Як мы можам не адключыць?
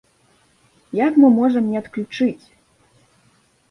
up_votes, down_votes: 2, 0